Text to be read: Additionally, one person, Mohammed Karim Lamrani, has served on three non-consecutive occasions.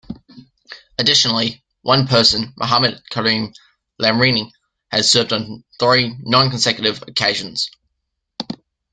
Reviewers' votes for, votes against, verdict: 0, 2, rejected